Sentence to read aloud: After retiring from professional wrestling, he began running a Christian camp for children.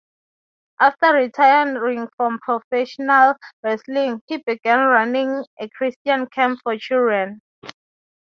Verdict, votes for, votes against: rejected, 0, 3